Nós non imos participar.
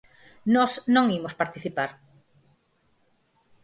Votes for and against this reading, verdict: 4, 0, accepted